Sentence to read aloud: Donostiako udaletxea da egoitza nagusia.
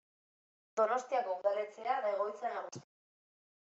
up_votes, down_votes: 0, 2